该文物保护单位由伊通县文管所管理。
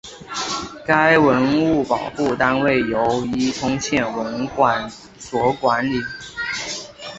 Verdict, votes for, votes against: accepted, 2, 0